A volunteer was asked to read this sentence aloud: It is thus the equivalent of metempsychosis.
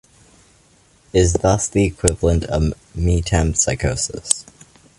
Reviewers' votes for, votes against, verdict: 2, 0, accepted